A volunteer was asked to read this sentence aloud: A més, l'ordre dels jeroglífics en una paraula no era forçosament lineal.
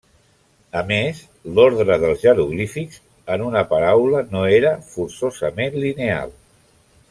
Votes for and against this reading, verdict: 1, 2, rejected